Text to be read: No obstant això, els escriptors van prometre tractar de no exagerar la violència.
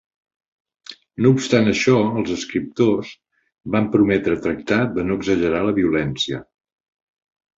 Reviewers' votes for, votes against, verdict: 5, 0, accepted